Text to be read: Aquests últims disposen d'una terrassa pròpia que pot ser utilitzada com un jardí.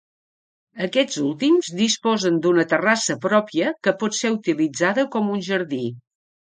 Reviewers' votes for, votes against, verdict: 2, 0, accepted